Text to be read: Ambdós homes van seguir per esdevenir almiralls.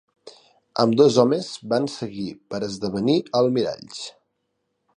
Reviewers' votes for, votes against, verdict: 2, 0, accepted